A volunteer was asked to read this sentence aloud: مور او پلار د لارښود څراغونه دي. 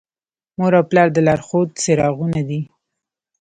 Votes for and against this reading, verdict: 1, 2, rejected